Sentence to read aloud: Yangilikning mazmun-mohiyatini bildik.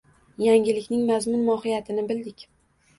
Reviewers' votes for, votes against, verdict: 2, 0, accepted